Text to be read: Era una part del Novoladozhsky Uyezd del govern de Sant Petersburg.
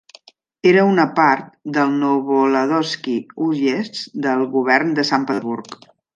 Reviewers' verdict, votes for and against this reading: rejected, 1, 2